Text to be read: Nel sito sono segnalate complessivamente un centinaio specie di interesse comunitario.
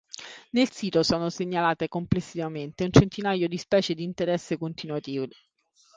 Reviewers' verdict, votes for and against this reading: rejected, 0, 3